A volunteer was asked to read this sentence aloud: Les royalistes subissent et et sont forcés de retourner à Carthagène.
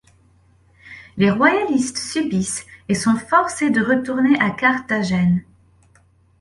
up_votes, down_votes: 1, 2